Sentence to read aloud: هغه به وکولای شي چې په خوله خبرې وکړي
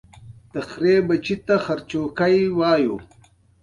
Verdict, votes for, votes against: rejected, 1, 2